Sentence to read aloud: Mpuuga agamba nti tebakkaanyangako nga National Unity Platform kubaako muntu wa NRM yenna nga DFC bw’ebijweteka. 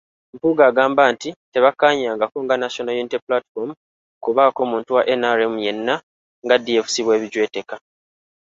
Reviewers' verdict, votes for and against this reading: accepted, 3, 0